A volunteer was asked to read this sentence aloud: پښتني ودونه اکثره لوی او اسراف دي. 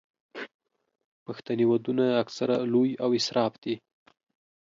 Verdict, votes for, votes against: accepted, 2, 0